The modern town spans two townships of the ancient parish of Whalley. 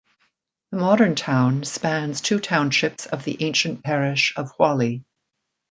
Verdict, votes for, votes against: accepted, 2, 0